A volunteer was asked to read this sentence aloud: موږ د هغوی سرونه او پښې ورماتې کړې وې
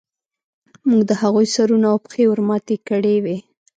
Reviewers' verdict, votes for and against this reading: accepted, 2, 0